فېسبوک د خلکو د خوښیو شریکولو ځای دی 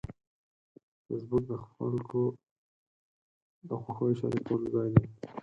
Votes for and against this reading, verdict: 2, 4, rejected